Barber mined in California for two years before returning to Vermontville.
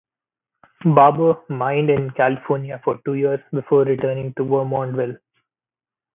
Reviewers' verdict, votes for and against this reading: accepted, 2, 0